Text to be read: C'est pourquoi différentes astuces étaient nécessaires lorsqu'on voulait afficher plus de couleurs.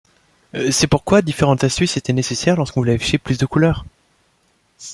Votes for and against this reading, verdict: 2, 1, accepted